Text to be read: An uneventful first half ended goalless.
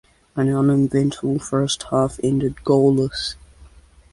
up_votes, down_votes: 1, 3